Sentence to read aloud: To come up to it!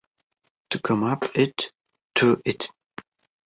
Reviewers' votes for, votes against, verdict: 1, 2, rejected